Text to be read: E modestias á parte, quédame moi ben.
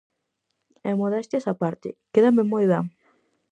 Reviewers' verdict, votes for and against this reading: accepted, 4, 0